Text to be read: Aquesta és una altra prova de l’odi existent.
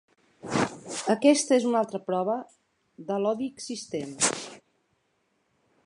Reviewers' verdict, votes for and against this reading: accepted, 3, 0